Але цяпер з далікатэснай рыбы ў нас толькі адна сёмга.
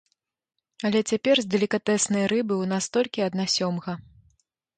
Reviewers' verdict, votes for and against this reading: accepted, 2, 0